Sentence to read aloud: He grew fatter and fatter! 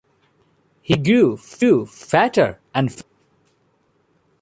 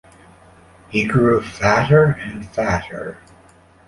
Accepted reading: second